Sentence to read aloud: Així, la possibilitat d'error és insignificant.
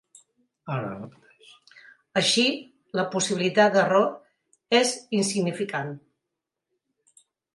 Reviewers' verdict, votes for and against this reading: rejected, 1, 2